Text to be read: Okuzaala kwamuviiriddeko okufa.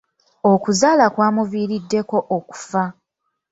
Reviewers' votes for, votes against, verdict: 2, 0, accepted